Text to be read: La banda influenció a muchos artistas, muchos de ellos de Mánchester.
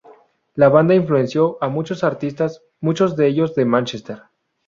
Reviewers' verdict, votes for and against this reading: rejected, 0, 2